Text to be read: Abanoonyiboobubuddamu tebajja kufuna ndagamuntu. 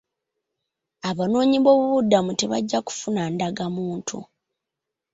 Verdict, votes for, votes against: accepted, 2, 1